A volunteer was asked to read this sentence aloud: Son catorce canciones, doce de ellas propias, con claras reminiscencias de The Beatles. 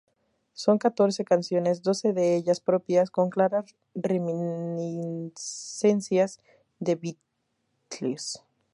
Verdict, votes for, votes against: rejected, 0, 2